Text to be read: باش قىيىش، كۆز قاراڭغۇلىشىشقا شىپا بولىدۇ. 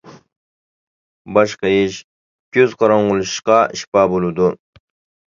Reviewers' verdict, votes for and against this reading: accepted, 2, 0